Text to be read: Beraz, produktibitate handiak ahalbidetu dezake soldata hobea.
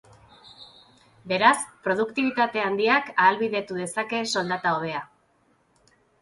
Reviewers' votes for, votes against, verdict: 3, 0, accepted